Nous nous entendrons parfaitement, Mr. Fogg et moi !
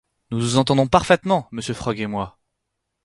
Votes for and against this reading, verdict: 2, 4, rejected